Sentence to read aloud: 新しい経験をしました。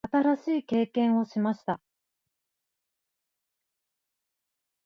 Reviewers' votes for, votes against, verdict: 2, 1, accepted